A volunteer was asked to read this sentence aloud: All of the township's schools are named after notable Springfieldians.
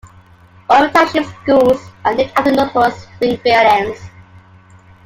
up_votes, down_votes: 2, 0